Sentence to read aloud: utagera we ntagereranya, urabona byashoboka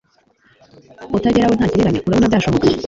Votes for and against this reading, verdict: 2, 0, accepted